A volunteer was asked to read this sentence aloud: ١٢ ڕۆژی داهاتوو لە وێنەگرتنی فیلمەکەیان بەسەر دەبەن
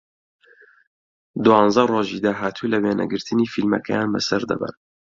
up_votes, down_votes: 0, 2